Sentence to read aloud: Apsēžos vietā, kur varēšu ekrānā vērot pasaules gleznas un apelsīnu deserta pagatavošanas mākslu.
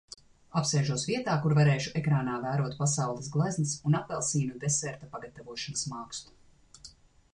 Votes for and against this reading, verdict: 2, 1, accepted